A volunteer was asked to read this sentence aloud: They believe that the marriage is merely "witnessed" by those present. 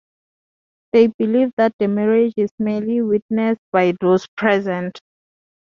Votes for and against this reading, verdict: 2, 0, accepted